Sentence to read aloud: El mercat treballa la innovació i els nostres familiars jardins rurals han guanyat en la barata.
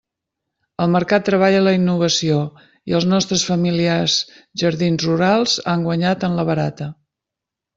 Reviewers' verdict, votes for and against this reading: accepted, 3, 0